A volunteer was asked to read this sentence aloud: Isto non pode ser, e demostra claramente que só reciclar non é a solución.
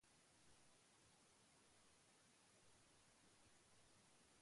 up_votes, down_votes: 0, 2